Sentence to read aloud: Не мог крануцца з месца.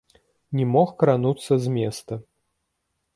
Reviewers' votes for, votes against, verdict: 1, 2, rejected